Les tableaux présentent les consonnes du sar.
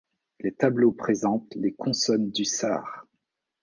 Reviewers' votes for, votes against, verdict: 2, 0, accepted